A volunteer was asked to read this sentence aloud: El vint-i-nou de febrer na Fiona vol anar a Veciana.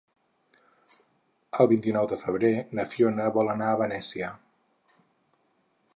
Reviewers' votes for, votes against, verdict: 0, 4, rejected